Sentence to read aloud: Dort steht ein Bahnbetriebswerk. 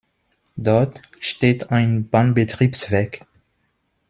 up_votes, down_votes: 2, 0